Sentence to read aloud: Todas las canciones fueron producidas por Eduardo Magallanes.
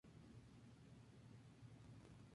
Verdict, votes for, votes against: accepted, 2, 0